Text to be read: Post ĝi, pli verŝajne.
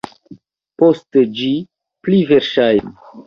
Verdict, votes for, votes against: rejected, 0, 2